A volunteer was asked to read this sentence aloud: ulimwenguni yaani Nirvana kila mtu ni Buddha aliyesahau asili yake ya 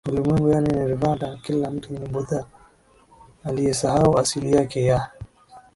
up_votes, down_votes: 2, 0